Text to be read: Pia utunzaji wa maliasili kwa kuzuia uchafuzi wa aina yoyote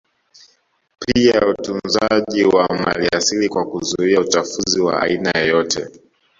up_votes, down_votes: 0, 2